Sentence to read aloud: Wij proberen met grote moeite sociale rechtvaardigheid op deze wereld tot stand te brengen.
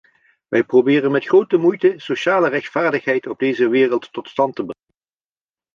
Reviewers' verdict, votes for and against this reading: rejected, 0, 2